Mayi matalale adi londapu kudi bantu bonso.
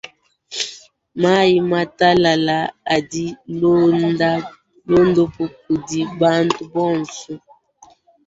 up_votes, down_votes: 0, 4